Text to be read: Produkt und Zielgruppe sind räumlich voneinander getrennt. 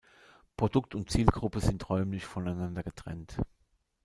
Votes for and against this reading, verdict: 1, 2, rejected